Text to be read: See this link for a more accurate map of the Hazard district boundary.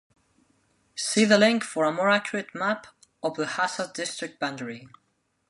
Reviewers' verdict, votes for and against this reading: rejected, 1, 2